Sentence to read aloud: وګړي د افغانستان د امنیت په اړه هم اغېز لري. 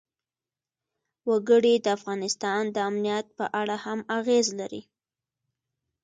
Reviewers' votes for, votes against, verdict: 2, 0, accepted